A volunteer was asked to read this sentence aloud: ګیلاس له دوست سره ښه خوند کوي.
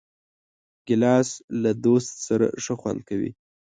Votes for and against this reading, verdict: 2, 0, accepted